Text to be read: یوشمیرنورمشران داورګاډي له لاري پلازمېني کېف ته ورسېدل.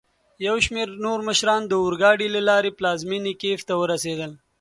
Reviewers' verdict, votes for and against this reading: accepted, 2, 0